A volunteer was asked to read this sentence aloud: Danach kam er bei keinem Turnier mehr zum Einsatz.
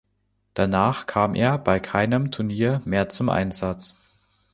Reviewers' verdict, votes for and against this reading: accepted, 2, 0